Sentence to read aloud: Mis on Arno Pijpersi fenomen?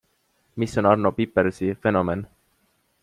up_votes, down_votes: 2, 1